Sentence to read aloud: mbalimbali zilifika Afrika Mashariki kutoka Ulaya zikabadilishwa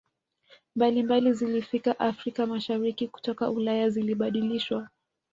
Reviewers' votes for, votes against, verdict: 0, 2, rejected